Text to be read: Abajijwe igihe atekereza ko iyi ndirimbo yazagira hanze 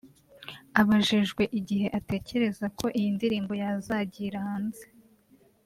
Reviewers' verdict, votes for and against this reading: accepted, 3, 0